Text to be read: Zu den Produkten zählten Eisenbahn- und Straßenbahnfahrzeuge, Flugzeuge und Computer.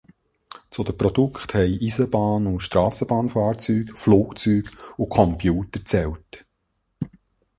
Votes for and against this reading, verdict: 0, 2, rejected